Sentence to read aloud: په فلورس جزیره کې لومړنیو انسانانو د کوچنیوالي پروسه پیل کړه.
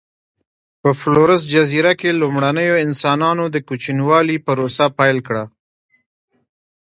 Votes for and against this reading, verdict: 2, 0, accepted